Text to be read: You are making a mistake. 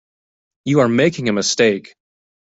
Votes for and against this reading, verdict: 2, 0, accepted